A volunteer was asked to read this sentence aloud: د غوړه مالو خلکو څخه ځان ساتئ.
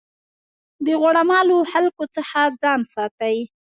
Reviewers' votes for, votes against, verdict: 2, 1, accepted